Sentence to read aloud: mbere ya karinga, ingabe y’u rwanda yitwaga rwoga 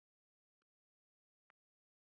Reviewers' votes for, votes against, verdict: 0, 2, rejected